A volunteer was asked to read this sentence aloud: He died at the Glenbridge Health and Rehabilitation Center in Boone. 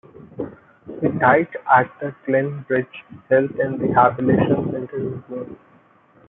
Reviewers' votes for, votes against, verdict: 1, 2, rejected